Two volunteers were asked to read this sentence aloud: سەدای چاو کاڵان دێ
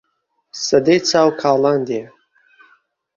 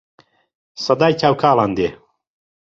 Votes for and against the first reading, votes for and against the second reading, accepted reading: 0, 2, 2, 0, second